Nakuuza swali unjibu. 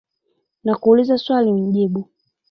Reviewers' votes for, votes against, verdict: 2, 0, accepted